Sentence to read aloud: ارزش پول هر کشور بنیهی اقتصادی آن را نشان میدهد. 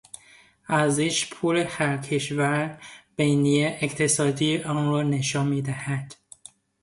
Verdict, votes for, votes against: rejected, 0, 2